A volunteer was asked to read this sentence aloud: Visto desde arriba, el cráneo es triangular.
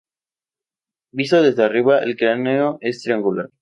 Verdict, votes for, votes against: accepted, 2, 0